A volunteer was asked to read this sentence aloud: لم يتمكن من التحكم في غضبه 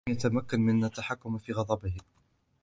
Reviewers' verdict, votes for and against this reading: accepted, 2, 0